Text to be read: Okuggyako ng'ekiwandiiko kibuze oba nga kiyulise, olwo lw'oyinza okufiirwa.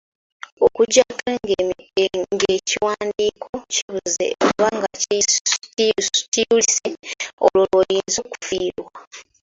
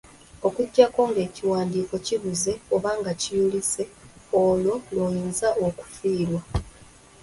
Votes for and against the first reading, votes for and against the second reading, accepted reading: 2, 3, 2, 1, second